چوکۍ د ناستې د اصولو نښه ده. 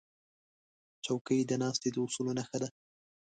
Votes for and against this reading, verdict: 2, 0, accepted